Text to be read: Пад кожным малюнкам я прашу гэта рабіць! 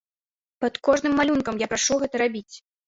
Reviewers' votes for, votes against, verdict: 2, 0, accepted